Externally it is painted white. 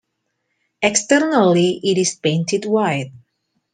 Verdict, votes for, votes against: accepted, 2, 0